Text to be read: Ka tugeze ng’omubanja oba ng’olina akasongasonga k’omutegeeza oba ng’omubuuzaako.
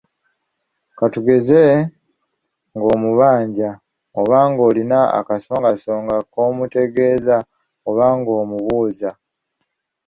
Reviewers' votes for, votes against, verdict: 0, 2, rejected